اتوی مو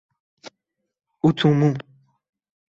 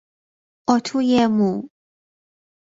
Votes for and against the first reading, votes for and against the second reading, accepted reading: 0, 2, 2, 0, second